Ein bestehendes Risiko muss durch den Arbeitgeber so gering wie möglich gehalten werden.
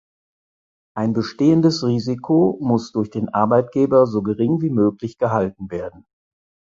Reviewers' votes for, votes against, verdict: 4, 0, accepted